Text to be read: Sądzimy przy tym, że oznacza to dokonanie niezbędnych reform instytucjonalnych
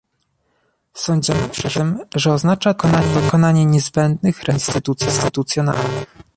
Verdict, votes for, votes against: rejected, 0, 2